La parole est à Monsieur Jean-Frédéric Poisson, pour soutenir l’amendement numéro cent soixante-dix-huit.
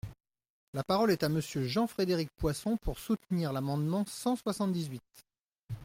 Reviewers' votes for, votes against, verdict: 0, 2, rejected